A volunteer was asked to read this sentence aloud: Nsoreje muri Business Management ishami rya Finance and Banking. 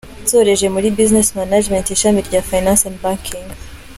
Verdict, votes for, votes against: accepted, 3, 0